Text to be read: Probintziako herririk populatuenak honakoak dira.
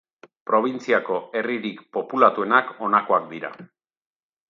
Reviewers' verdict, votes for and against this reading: accepted, 2, 0